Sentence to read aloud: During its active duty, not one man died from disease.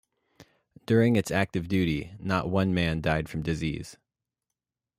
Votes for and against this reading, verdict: 2, 0, accepted